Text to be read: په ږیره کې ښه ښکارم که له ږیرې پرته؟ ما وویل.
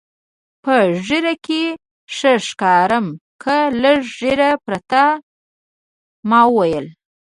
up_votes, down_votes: 1, 2